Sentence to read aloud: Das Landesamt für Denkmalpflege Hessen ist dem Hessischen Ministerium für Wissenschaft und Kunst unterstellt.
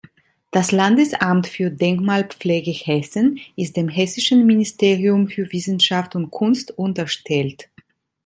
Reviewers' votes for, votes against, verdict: 2, 0, accepted